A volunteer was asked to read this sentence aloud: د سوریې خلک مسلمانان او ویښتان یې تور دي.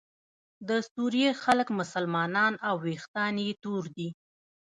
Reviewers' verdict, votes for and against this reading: accepted, 2, 0